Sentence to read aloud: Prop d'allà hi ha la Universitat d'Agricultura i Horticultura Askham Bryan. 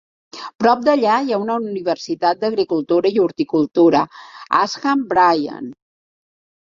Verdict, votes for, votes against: rejected, 3, 4